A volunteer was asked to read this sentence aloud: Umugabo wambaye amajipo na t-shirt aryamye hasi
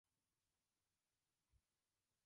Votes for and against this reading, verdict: 0, 2, rejected